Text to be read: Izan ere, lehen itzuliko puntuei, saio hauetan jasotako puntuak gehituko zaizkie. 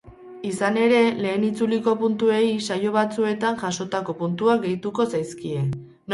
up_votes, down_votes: 0, 4